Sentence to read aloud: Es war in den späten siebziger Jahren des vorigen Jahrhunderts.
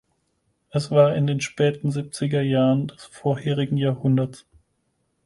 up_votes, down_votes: 2, 4